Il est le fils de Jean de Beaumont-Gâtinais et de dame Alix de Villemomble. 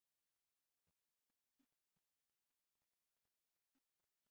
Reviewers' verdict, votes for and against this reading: rejected, 0, 2